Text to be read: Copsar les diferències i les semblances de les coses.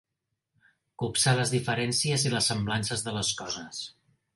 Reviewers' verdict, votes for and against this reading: accepted, 3, 0